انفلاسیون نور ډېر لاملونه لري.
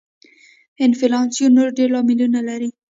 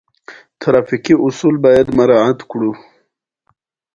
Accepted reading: second